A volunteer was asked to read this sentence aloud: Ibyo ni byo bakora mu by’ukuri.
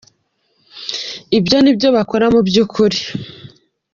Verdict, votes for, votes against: accepted, 2, 0